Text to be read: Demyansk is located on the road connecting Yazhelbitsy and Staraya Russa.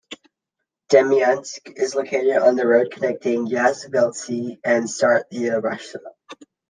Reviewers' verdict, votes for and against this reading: accepted, 2, 0